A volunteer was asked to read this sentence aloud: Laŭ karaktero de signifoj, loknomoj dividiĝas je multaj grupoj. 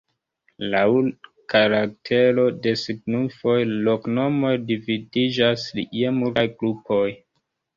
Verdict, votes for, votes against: rejected, 1, 2